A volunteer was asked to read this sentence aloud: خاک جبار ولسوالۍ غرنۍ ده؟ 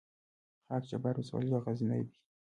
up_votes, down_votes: 2, 0